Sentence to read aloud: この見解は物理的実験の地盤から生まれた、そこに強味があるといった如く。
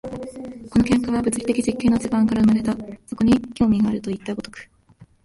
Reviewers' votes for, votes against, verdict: 1, 2, rejected